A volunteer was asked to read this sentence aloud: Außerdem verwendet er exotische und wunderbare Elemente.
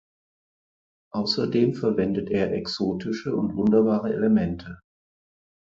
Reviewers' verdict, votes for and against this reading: accepted, 4, 0